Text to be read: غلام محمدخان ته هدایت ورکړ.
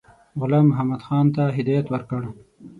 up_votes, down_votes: 6, 0